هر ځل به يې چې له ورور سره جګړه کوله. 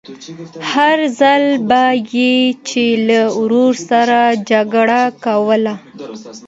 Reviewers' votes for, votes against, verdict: 2, 0, accepted